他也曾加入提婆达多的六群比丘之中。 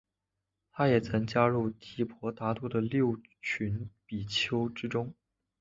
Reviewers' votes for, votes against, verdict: 3, 0, accepted